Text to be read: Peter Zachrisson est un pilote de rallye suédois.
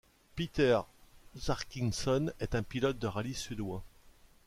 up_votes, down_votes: 0, 2